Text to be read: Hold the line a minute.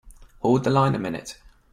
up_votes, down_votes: 2, 0